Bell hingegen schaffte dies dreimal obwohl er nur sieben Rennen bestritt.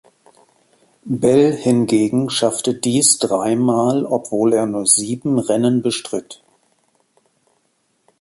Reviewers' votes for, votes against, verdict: 2, 0, accepted